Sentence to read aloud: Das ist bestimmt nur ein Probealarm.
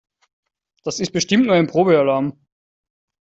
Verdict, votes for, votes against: accepted, 4, 0